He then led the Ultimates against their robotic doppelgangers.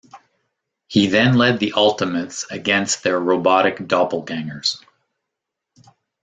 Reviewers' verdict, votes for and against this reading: accepted, 2, 0